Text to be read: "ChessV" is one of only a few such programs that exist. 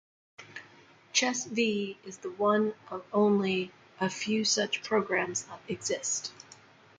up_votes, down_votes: 0, 2